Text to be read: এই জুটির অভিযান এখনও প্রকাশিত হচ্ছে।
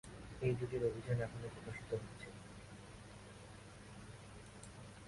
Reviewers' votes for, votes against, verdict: 0, 4, rejected